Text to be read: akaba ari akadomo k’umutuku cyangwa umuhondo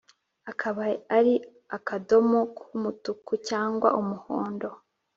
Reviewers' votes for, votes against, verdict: 3, 0, accepted